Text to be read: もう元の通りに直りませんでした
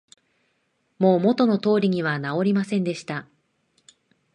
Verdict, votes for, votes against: accepted, 24, 7